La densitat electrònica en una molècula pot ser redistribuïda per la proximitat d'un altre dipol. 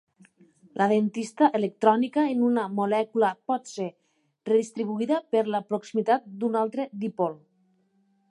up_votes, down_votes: 1, 2